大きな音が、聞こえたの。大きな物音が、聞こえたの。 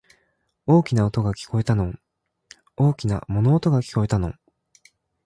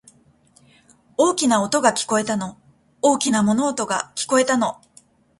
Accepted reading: first